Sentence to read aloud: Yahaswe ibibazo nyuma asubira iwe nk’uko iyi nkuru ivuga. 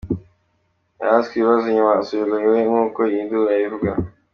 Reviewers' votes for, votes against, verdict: 2, 1, accepted